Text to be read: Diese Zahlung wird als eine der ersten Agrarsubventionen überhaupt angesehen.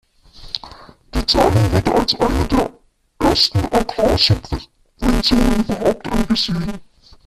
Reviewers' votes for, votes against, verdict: 0, 2, rejected